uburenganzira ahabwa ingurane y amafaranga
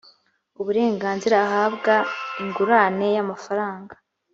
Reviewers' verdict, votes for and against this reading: accepted, 3, 0